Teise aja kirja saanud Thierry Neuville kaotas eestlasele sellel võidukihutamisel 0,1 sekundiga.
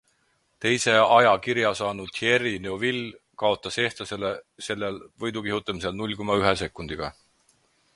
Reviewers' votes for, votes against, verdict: 0, 2, rejected